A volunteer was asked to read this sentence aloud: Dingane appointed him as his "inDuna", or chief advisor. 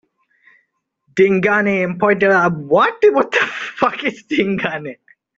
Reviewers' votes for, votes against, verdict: 0, 2, rejected